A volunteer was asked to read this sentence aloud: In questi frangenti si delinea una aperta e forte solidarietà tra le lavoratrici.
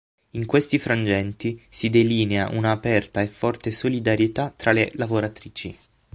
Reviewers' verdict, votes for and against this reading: accepted, 9, 0